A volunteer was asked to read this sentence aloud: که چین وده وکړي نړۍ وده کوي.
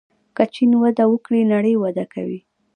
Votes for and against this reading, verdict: 1, 2, rejected